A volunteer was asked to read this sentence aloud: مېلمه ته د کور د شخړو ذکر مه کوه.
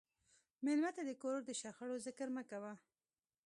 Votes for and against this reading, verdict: 1, 2, rejected